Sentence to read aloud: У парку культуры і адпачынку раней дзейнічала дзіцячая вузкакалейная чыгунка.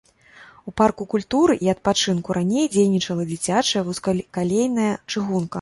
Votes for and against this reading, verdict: 1, 2, rejected